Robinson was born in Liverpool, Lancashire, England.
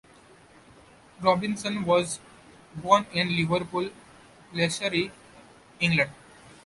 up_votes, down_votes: 2, 0